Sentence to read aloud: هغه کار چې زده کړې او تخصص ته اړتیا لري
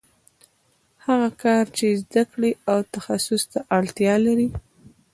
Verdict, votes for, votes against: rejected, 0, 2